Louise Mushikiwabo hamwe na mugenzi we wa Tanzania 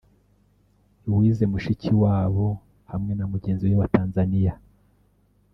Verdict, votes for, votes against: rejected, 1, 2